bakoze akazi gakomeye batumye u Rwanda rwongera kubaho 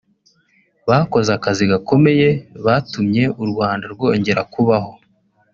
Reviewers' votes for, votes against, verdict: 0, 2, rejected